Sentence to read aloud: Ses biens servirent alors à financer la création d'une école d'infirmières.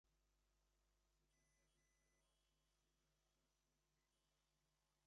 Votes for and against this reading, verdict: 0, 2, rejected